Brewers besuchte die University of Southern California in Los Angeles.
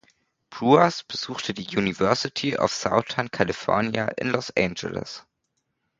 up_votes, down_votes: 0, 2